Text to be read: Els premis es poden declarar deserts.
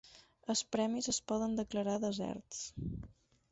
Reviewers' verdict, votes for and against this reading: accepted, 6, 0